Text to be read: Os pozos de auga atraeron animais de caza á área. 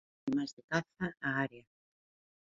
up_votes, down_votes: 0, 2